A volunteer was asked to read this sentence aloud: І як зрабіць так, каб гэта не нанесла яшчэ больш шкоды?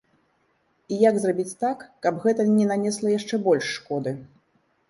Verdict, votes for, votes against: accepted, 2, 0